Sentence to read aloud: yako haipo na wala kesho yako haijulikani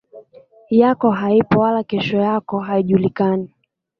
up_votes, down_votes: 0, 2